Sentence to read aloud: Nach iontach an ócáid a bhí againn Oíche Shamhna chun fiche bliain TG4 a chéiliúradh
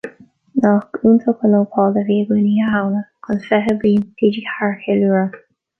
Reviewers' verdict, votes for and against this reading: rejected, 0, 2